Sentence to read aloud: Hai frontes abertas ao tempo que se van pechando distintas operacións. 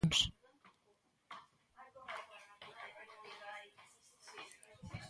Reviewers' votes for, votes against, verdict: 0, 2, rejected